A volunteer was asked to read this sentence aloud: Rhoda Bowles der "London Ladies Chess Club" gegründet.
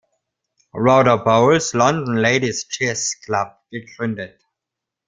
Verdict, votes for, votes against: rejected, 0, 2